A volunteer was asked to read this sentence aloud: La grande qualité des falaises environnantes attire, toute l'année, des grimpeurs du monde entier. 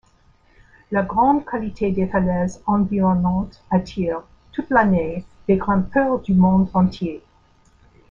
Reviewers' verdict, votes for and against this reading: accepted, 3, 1